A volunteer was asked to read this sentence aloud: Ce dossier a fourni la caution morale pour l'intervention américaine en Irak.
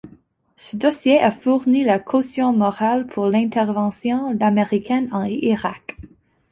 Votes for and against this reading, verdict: 1, 2, rejected